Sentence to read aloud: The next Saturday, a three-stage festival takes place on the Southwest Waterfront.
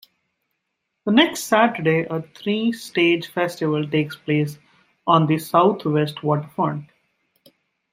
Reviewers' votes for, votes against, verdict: 1, 2, rejected